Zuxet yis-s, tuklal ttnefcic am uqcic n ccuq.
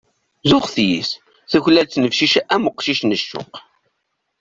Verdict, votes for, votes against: accepted, 2, 0